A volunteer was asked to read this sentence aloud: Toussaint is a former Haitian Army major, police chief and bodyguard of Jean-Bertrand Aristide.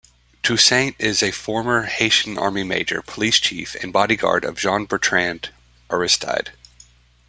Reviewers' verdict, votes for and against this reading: accepted, 2, 1